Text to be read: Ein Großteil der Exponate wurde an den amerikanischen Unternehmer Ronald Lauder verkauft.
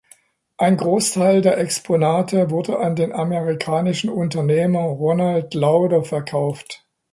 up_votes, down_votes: 2, 0